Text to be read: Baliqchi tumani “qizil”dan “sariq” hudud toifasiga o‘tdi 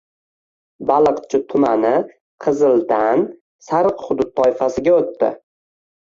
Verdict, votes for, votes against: rejected, 1, 2